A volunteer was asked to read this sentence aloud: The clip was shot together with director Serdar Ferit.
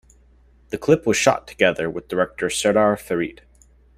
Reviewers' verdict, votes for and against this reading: accepted, 2, 0